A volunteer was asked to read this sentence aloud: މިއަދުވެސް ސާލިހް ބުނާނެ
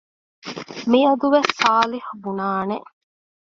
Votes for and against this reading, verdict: 2, 1, accepted